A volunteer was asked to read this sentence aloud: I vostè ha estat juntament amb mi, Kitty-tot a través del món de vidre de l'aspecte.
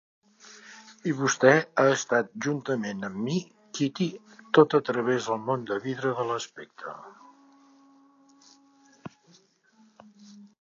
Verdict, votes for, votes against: accepted, 4, 0